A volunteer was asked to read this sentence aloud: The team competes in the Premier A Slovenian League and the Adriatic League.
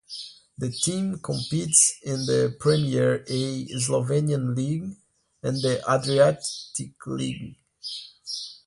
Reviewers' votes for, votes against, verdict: 2, 0, accepted